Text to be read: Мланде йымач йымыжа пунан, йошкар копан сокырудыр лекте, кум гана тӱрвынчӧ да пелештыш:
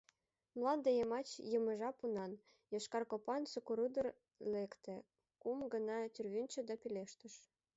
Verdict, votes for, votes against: rejected, 0, 2